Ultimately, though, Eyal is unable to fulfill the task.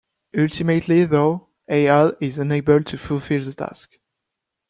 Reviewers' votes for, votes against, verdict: 2, 1, accepted